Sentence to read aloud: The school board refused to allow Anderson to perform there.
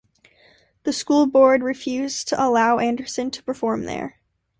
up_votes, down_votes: 2, 0